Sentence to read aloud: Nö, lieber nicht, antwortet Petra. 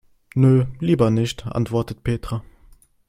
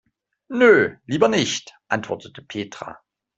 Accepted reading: first